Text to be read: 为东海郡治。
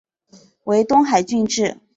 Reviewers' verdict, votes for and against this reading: accepted, 5, 0